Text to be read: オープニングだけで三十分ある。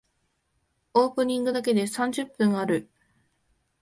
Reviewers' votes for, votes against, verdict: 2, 0, accepted